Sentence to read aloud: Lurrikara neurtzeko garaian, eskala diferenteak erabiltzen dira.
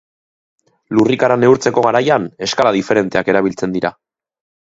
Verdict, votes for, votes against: accepted, 2, 0